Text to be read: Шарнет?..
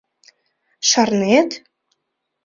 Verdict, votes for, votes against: accepted, 2, 0